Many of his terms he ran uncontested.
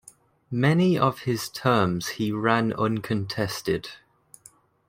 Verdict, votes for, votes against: accepted, 2, 0